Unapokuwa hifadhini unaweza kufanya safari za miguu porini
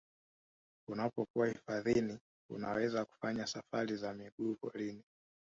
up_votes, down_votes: 1, 2